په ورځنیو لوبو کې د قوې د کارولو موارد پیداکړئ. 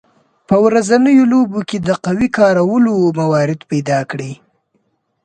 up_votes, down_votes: 3, 0